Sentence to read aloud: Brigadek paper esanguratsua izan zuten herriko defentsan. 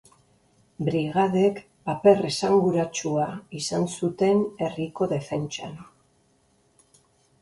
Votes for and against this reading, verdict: 3, 0, accepted